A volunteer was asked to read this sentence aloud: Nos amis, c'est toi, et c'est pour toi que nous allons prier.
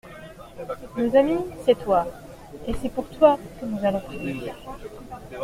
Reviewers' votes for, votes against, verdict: 2, 0, accepted